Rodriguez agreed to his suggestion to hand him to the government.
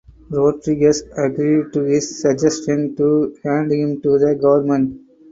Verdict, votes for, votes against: rejected, 2, 4